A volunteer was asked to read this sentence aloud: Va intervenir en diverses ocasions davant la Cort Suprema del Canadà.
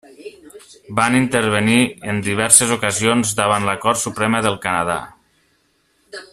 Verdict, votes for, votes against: rejected, 1, 2